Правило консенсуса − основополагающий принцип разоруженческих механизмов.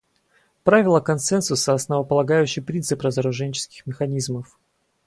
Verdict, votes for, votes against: accepted, 4, 0